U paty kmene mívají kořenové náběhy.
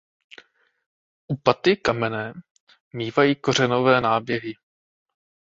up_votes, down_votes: 0, 2